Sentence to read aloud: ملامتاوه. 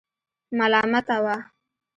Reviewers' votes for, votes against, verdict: 2, 0, accepted